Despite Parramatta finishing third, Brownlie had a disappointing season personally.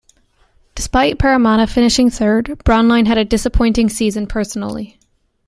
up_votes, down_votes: 1, 2